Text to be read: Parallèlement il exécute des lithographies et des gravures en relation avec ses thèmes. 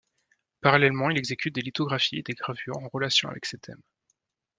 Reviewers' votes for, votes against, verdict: 2, 0, accepted